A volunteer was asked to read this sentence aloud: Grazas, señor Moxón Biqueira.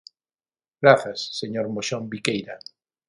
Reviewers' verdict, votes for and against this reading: accepted, 6, 0